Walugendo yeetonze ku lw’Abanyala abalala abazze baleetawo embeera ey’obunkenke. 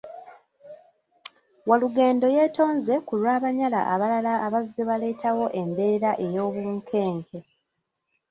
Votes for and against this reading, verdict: 2, 0, accepted